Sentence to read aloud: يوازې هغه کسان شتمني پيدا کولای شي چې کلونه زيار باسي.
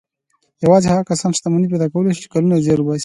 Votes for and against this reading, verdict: 2, 0, accepted